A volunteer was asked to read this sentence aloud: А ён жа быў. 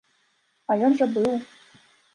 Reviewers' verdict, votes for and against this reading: accepted, 2, 0